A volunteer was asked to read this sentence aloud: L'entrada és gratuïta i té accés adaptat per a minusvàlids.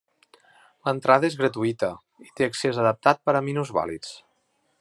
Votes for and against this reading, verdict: 2, 0, accepted